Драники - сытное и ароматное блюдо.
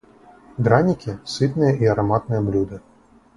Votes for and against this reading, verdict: 2, 2, rejected